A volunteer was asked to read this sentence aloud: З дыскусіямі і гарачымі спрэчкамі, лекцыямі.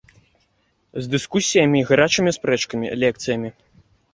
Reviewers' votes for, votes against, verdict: 2, 0, accepted